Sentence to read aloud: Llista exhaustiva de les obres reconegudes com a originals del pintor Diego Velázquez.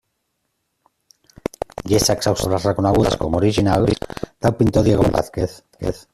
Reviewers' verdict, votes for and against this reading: rejected, 0, 2